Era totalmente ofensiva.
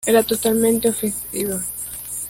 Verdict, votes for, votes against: rejected, 0, 2